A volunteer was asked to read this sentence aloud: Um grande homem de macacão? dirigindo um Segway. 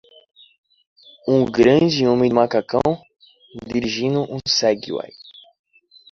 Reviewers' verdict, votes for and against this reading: accepted, 2, 0